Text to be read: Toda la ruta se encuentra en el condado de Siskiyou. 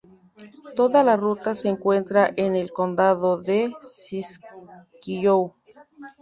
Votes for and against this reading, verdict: 2, 0, accepted